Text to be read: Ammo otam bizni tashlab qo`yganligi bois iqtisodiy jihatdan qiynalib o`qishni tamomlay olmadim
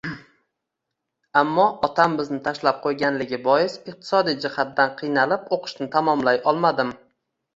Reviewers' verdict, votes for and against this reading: accepted, 2, 0